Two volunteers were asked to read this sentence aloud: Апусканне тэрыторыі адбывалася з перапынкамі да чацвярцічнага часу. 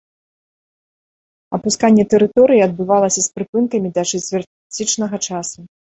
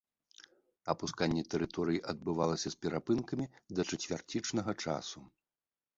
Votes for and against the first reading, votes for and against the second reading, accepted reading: 1, 2, 3, 0, second